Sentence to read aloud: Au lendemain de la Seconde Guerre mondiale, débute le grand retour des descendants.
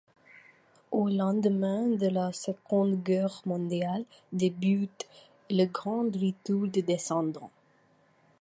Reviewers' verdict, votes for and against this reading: rejected, 1, 2